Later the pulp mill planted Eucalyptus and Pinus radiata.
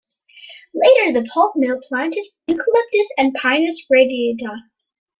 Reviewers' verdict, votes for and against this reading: accepted, 2, 0